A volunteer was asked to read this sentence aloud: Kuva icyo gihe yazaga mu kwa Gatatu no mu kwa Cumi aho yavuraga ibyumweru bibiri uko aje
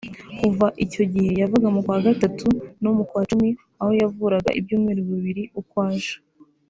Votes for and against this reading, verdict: 2, 0, accepted